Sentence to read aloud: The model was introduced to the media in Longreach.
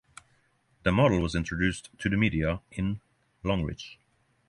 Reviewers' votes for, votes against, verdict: 6, 0, accepted